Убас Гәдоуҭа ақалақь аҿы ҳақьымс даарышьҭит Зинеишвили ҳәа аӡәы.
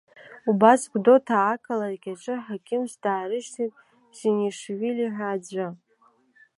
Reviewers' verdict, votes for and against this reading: rejected, 0, 2